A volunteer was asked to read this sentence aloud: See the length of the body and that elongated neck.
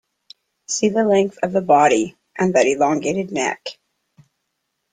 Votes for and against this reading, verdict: 2, 0, accepted